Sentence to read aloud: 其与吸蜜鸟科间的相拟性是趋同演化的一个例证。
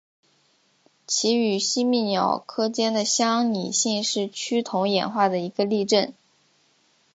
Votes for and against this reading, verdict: 2, 2, rejected